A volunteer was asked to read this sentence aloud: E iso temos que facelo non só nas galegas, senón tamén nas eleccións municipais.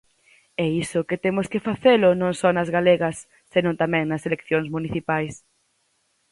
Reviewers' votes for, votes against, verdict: 0, 4, rejected